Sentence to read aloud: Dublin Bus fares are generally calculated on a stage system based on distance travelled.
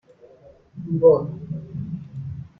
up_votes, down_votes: 0, 2